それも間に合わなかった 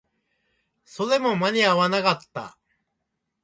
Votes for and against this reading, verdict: 1, 2, rejected